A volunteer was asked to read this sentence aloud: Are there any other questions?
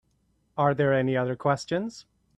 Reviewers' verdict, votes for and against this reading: accepted, 2, 0